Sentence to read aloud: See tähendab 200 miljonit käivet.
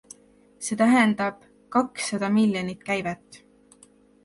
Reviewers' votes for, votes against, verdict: 0, 2, rejected